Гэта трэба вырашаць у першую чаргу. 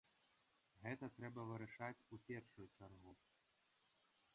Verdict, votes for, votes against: rejected, 0, 2